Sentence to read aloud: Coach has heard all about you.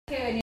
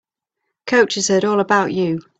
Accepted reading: second